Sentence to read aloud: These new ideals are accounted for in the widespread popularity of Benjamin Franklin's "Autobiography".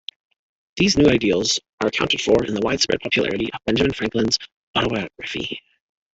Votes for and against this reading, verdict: 1, 2, rejected